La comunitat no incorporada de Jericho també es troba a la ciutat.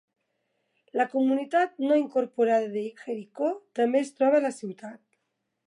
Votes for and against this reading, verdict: 2, 0, accepted